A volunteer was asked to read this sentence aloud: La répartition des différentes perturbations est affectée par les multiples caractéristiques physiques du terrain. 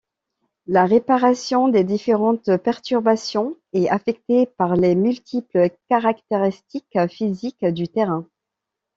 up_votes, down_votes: 1, 2